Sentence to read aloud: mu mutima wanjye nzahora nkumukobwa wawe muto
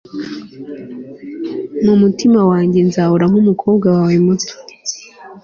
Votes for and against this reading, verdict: 2, 0, accepted